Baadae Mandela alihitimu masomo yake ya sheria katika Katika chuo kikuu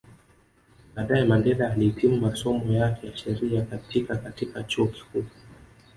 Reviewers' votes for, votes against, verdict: 0, 2, rejected